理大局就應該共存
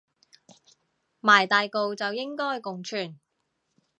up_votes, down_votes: 0, 2